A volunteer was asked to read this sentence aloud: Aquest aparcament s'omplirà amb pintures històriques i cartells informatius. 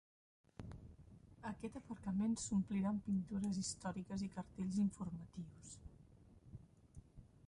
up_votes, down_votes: 1, 2